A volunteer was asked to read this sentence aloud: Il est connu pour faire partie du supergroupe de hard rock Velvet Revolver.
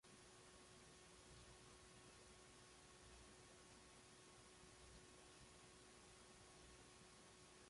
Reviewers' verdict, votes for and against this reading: rejected, 0, 2